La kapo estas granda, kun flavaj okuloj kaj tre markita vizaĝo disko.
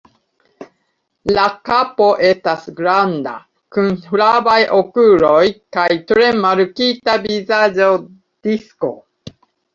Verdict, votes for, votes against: rejected, 0, 2